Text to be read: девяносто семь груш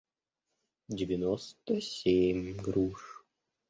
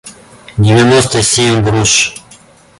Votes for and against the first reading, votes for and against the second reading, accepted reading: 1, 2, 2, 0, second